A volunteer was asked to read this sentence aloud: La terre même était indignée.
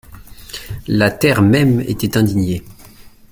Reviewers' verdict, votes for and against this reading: accepted, 2, 0